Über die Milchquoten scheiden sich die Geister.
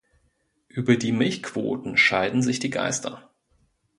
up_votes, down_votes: 2, 0